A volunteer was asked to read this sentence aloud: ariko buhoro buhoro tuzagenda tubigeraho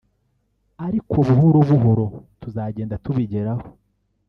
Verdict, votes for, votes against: rejected, 1, 2